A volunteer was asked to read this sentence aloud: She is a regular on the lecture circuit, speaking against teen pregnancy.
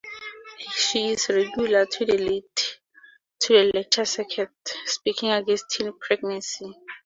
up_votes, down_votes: 2, 4